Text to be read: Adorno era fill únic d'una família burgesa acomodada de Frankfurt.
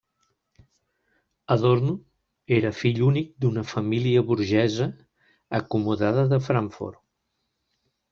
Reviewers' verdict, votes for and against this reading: accepted, 2, 0